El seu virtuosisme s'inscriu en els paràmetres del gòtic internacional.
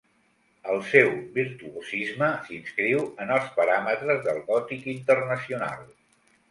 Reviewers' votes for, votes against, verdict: 2, 0, accepted